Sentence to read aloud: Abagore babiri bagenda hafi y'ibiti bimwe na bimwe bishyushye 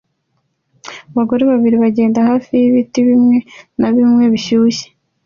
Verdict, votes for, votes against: accepted, 2, 1